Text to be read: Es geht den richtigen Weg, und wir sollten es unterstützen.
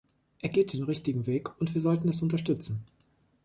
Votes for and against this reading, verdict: 1, 2, rejected